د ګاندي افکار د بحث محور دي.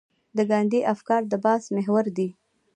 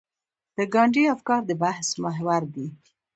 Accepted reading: first